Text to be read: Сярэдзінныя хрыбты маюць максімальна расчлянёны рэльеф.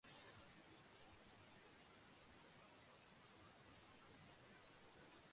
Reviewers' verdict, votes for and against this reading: rejected, 0, 2